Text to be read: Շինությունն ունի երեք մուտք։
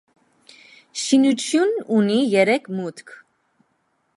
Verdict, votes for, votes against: accepted, 2, 0